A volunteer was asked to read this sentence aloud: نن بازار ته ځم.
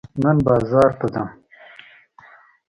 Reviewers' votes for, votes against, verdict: 2, 0, accepted